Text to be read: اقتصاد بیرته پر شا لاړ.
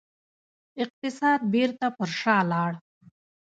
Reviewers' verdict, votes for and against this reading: accepted, 2, 1